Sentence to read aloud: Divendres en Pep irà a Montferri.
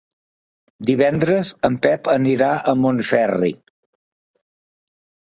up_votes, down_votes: 1, 2